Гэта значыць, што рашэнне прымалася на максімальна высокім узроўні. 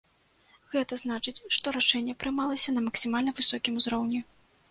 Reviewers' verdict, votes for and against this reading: accepted, 2, 0